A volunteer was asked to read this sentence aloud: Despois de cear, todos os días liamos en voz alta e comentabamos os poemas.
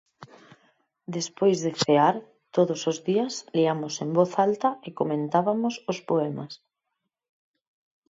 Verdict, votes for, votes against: rejected, 0, 6